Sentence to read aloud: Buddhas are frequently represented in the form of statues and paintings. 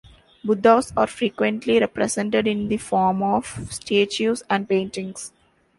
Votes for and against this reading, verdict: 2, 0, accepted